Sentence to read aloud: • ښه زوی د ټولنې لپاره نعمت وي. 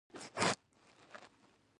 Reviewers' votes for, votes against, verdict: 1, 2, rejected